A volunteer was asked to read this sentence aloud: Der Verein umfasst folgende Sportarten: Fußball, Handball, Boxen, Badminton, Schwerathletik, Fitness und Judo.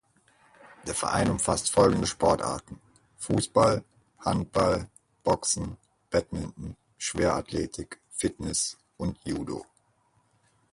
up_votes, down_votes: 4, 2